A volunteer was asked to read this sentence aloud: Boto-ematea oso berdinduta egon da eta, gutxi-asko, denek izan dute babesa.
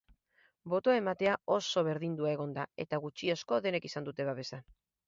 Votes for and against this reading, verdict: 2, 2, rejected